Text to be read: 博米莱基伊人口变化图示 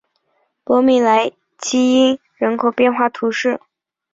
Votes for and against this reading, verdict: 3, 0, accepted